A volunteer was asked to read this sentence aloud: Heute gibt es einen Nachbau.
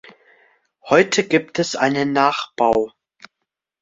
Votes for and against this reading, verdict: 2, 0, accepted